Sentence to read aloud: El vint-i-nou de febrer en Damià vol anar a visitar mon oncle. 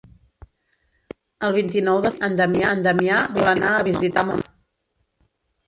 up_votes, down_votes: 0, 3